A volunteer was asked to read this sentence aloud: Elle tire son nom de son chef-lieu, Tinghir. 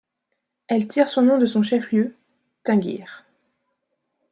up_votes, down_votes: 1, 2